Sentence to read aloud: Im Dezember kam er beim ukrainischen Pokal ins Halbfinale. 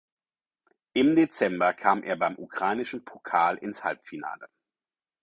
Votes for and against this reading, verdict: 4, 0, accepted